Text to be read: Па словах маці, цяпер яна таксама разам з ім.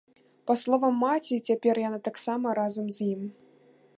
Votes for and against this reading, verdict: 0, 2, rejected